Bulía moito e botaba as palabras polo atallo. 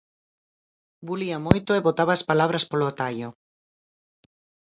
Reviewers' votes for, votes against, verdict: 4, 0, accepted